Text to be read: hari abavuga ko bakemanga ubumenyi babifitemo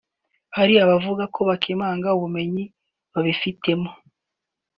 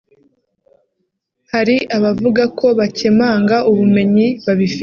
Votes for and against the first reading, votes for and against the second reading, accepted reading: 2, 0, 1, 3, first